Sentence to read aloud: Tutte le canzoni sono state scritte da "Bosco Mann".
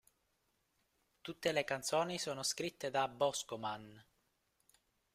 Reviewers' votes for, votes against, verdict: 2, 0, accepted